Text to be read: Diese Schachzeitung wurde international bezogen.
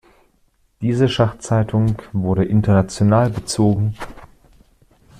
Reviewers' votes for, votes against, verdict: 2, 0, accepted